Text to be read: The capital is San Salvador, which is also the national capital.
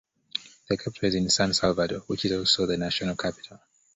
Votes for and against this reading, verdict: 2, 0, accepted